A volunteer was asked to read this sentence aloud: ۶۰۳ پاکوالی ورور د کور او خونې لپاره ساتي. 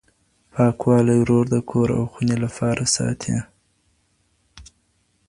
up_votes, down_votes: 0, 2